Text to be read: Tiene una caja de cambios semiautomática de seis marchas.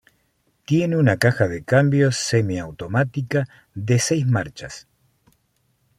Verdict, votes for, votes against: accepted, 2, 0